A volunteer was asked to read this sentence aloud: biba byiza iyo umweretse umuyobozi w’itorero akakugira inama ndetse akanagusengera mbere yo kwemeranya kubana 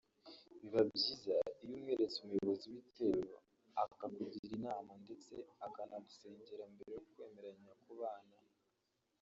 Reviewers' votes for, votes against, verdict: 1, 3, rejected